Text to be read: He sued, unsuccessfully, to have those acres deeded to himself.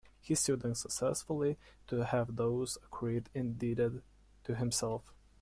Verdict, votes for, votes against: rejected, 0, 2